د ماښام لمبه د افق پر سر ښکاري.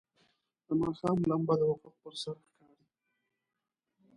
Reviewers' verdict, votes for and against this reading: rejected, 0, 2